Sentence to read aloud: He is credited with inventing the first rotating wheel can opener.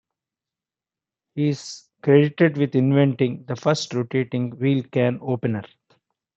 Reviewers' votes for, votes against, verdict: 2, 1, accepted